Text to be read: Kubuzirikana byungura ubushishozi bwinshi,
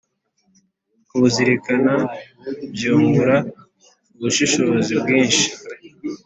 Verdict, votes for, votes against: accepted, 4, 1